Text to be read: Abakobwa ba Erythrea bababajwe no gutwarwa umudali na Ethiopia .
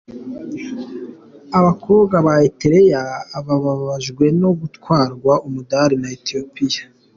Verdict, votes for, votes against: accepted, 2, 0